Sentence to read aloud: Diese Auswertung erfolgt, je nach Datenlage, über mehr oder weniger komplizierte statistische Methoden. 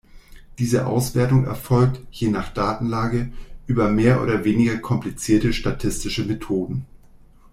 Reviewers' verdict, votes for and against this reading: rejected, 1, 2